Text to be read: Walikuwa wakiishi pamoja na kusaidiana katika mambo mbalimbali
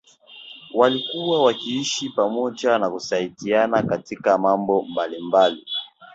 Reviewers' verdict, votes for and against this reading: accepted, 2, 0